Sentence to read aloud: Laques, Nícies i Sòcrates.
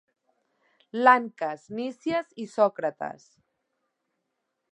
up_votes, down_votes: 0, 2